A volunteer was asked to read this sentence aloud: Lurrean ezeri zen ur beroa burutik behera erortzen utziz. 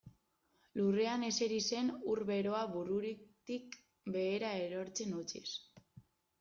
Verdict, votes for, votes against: rejected, 0, 2